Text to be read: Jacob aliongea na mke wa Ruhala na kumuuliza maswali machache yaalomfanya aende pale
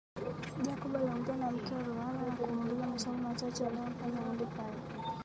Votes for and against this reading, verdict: 1, 3, rejected